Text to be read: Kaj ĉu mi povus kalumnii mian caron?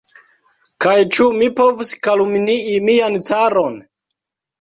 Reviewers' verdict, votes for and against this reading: rejected, 1, 2